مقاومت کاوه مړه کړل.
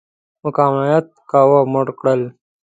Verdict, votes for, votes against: rejected, 1, 2